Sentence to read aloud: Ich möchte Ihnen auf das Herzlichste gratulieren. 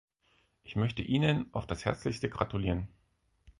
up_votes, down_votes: 4, 0